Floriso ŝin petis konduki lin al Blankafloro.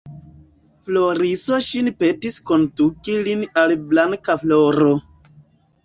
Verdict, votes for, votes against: rejected, 0, 2